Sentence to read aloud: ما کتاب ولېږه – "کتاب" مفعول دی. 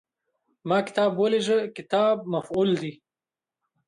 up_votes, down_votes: 2, 1